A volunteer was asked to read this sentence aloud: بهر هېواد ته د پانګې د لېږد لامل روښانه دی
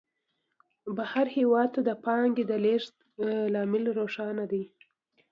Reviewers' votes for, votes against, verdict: 2, 0, accepted